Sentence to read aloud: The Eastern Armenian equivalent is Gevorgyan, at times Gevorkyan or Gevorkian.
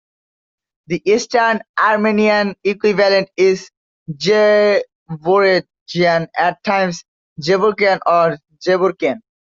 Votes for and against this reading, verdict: 2, 1, accepted